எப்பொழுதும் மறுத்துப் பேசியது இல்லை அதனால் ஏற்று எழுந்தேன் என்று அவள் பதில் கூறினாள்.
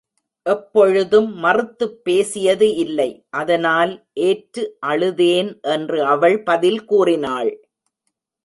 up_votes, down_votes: 0, 2